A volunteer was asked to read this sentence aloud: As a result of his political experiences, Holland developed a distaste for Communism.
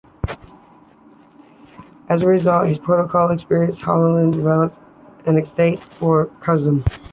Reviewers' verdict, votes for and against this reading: rejected, 1, 2